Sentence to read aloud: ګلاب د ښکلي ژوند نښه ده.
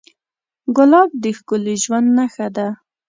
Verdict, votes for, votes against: accepted, 2, 0